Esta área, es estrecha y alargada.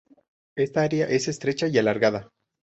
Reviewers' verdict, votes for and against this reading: accepted, 2, 0